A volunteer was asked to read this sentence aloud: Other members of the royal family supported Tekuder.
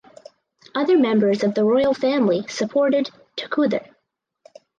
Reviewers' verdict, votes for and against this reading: accepted, 4, 0